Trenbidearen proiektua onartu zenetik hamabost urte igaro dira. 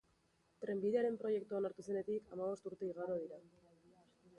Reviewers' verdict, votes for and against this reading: accepted, 3, 0